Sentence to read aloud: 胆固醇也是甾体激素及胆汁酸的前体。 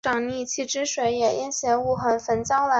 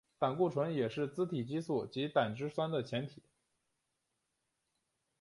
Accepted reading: second